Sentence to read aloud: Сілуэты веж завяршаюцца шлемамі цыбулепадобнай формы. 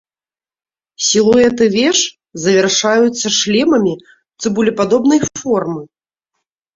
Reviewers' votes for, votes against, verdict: 2, 0, accepted